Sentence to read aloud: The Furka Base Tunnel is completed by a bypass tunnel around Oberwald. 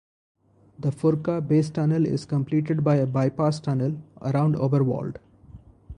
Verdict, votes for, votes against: accepted, 4, 0